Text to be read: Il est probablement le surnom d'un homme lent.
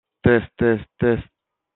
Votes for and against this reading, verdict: 0, 2, rejected